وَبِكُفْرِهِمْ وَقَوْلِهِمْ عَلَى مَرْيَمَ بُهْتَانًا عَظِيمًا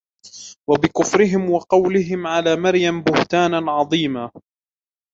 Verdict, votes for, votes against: accepted, 2, 0